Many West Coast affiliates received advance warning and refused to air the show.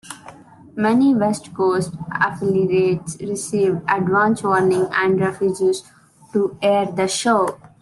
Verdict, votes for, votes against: rejected, 0, 2